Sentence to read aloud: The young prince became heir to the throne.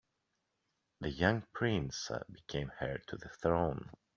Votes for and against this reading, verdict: 2, 0, accepted